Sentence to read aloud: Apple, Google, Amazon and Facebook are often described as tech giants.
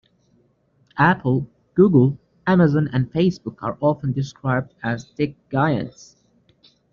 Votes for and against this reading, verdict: 2, 1, accepted